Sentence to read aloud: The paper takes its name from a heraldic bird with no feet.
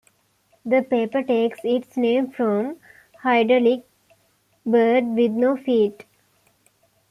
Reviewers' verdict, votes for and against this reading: rejected, 1, 2